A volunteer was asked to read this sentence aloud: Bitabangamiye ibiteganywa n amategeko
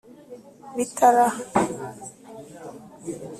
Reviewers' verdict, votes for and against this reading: rejected, 1, 2